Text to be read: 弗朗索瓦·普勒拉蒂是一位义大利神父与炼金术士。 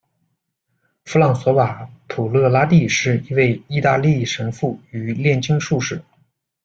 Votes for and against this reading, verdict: 1, 2, rejected